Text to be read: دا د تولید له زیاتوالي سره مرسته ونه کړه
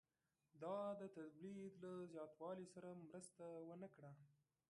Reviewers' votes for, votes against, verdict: 2, 1, accepted